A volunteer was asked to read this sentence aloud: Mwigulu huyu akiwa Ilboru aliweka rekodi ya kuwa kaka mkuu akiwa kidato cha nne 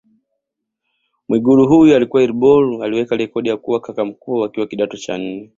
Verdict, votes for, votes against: accepted, 2, 0